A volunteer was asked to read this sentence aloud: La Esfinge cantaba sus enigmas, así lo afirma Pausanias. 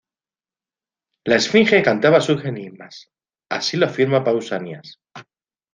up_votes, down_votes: 2, 0